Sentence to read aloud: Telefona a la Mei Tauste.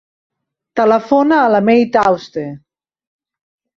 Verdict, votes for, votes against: accepted, 2, 0